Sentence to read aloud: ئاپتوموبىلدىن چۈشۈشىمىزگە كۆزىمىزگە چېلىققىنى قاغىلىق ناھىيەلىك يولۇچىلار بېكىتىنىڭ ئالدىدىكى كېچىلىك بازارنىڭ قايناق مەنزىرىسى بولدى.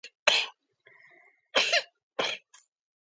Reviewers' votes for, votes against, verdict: 0, 2, rejected